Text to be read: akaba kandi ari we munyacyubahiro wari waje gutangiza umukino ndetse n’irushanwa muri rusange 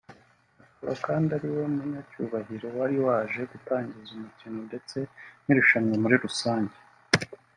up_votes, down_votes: 1, 2